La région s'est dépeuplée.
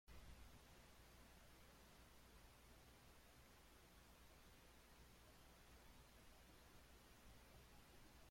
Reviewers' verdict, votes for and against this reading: rejected, 0, 2